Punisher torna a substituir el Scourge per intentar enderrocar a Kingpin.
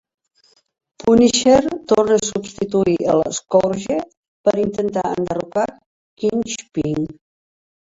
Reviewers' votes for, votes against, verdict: 0, 2, rejected